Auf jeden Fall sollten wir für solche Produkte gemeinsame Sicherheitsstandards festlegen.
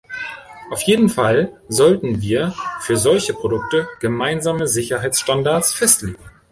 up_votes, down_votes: 2, 0